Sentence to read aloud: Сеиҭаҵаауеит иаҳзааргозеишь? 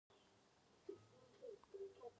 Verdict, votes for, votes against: rejected, 0, 2